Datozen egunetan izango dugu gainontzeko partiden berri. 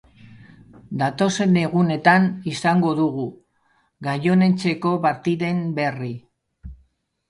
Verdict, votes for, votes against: rejected, 0, 3